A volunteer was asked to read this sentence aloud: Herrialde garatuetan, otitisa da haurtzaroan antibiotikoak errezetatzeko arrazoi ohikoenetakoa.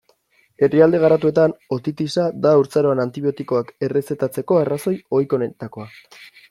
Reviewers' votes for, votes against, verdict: 2, 1, accepted